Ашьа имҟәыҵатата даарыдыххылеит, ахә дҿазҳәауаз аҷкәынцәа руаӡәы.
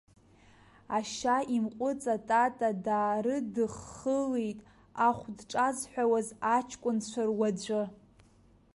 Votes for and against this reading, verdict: 1, 2, rejected